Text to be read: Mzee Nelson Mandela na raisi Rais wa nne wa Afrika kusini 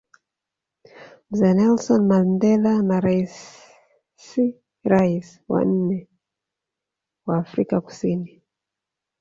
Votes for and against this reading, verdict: 1, 2, rejected